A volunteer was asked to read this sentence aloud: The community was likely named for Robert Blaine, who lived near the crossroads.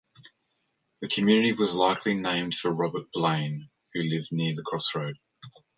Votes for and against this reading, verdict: 1, 2, rejected